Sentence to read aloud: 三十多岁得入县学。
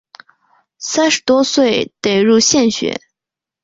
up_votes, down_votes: 3, 1